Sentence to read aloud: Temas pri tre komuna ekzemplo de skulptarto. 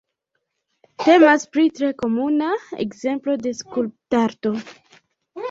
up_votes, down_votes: 2, 1